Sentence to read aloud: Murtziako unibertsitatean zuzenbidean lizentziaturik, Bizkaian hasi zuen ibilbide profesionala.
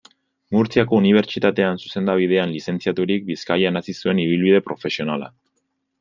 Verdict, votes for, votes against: rejected, 1, 2